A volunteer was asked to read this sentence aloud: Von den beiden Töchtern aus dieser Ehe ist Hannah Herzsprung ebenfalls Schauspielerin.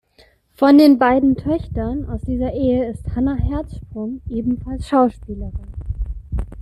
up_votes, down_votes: 2, 1